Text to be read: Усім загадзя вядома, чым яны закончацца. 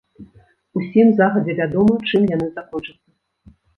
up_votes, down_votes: 0, 2